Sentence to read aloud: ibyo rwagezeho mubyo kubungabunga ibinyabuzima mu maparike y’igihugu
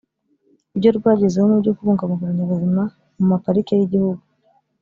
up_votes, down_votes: 1, 2